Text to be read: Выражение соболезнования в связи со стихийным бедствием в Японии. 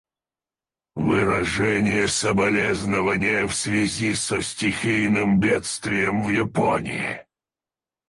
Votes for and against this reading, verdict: 0, 4, rejected